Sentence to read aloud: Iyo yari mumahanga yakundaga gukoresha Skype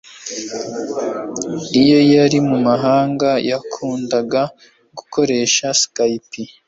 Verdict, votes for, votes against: rejected, 1, 2